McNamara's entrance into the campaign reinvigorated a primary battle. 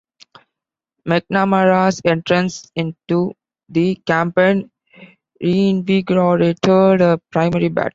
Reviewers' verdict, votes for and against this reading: rejected, 0, 2